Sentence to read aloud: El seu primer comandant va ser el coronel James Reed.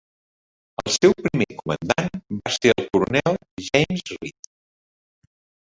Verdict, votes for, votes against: rejected, 1, 3